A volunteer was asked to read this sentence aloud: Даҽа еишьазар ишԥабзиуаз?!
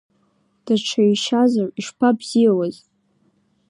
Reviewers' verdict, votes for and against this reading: accepted, 2, 0